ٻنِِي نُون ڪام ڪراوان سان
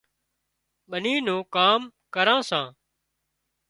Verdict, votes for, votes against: rejected, 1, 2